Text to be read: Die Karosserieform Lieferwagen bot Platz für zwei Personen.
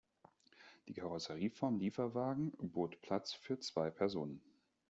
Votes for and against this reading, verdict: 2, 0, accepted